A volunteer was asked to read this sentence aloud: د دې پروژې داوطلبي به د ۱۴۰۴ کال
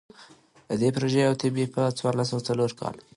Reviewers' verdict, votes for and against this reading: rejected, 0, 2